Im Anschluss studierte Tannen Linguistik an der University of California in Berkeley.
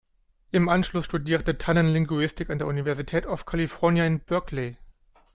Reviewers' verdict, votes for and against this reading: rejected, 1, 2